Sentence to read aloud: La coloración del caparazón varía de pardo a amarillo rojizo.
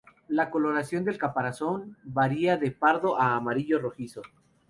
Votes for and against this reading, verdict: 2, 0, accepted